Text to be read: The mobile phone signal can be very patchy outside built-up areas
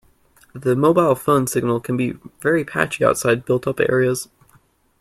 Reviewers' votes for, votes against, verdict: 2, 1, accepted